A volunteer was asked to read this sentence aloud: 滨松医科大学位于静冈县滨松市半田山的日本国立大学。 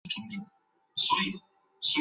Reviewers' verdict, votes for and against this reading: rejected, 0, 2